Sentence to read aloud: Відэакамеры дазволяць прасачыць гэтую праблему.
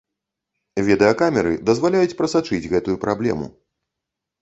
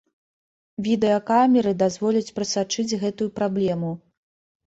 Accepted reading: second